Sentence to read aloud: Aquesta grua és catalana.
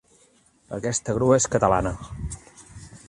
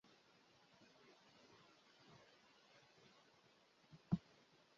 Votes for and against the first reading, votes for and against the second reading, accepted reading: 3, 0, 1, 2, first